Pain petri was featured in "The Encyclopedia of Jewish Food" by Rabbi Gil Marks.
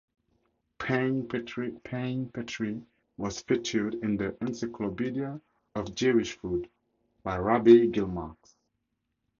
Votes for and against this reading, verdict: 2, 4, rejected